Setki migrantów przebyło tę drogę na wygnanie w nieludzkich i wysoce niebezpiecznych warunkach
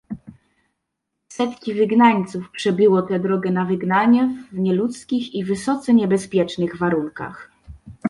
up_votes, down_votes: 0, 2